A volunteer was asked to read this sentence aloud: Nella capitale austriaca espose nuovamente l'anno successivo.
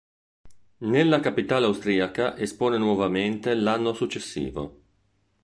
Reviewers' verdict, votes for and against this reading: rejected, 6, 8